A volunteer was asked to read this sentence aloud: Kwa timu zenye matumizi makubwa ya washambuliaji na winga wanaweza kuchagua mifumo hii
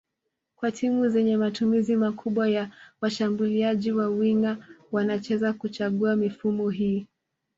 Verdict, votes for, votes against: rejected, 0, 2